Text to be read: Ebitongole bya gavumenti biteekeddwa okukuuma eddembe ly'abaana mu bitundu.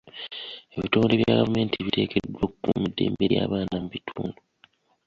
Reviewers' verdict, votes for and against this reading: rejected, 0, 2